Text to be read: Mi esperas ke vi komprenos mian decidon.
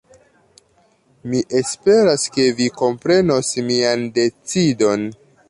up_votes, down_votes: 2, 0